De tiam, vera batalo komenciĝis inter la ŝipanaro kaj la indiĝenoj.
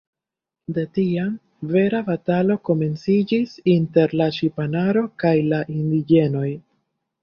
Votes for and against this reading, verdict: 1, 2, rejected